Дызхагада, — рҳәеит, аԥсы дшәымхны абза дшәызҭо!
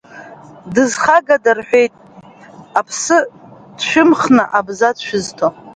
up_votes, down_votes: 0, 2